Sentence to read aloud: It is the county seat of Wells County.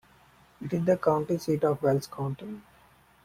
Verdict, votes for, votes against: accepted, 2, 0